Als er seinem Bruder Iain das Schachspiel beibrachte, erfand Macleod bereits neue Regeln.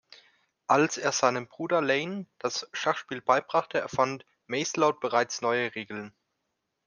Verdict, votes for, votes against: rejected, 1, 2